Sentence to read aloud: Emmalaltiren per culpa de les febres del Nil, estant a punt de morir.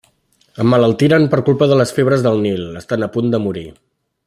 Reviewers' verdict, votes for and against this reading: rejected, 0, 2